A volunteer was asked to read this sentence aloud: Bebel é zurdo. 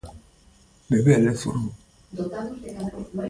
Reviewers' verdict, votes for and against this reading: rejected, 0, 2